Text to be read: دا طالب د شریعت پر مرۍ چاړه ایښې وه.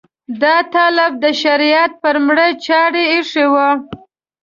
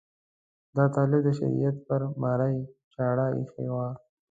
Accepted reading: second